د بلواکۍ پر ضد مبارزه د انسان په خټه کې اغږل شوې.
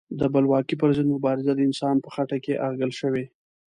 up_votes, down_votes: 2, 0